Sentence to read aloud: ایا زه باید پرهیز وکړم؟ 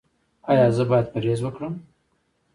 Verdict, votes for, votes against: accepted, 2, 1